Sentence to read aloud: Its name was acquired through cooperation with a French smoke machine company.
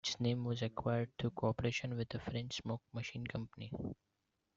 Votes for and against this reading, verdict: 1, 2, rejected